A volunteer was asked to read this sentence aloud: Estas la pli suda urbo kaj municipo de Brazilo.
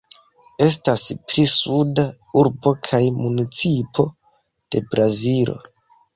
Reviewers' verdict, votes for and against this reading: accepted, 2, 0